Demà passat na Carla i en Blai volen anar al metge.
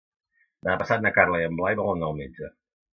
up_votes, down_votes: 1, 2